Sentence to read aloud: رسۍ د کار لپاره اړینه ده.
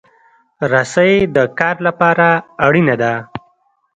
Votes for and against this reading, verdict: 1, 2, rejected